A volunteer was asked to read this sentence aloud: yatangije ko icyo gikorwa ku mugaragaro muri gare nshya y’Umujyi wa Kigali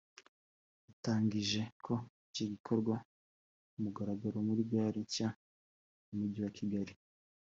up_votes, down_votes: 3, 1